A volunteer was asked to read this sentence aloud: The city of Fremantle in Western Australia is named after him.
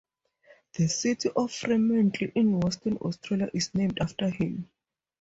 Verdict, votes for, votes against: accepted, 2, 0